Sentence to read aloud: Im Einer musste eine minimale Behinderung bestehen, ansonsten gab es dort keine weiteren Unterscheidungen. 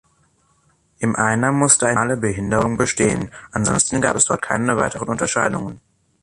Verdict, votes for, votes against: rejected, 1, 2